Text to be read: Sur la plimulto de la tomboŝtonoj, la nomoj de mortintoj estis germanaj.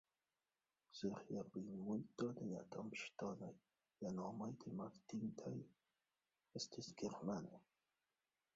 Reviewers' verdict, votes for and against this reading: rejected, 0, 2